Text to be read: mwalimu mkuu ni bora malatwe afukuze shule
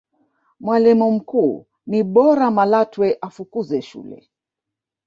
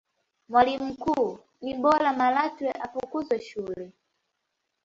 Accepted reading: second